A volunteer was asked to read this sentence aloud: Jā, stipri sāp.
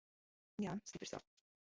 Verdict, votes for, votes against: rejected, 1, 2